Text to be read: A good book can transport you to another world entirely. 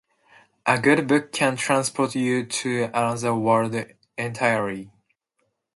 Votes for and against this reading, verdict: 2, 0, accepted